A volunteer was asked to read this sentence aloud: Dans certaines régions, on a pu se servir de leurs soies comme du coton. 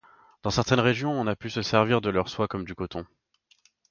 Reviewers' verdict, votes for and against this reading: accepted, 2, 0